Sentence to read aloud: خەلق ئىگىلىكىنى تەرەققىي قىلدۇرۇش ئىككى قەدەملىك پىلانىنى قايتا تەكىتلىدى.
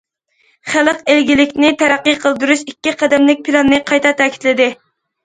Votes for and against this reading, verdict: 1, 2, rejected